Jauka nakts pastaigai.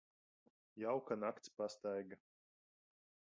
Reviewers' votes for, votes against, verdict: 1, 2, rejected